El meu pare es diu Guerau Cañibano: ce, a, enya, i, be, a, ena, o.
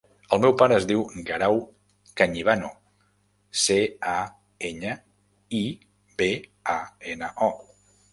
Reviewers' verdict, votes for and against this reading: accepted, 3, 0